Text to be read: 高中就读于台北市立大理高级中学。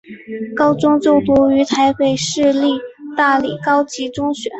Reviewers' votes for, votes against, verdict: 2, 0, accepted